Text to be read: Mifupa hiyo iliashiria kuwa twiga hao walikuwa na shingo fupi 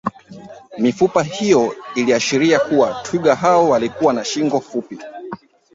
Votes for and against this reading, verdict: 2, 0, accepted